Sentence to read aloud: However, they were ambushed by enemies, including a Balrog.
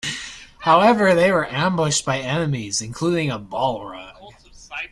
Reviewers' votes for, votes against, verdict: 2, 1, accepted